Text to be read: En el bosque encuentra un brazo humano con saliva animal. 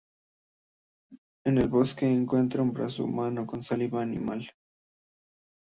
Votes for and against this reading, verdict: 2, 0, accepted